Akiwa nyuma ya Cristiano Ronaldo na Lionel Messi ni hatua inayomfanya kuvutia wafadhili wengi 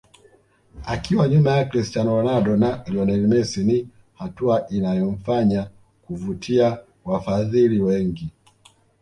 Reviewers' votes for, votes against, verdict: 2, 0, accepted